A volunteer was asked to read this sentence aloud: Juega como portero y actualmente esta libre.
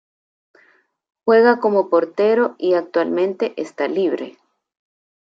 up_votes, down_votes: 2, 0